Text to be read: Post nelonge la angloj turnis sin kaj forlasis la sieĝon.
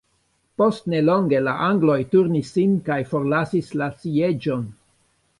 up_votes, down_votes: 1, 2